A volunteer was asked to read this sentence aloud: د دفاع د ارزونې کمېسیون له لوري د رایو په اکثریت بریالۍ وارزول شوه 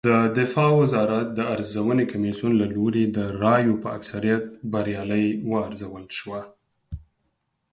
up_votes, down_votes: 2, 4